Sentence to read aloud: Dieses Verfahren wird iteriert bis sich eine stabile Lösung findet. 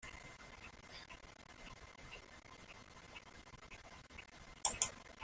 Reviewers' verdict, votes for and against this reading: rejected, 0, 2